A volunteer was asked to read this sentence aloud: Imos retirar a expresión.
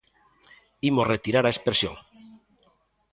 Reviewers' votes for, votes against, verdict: 2, 0, accepted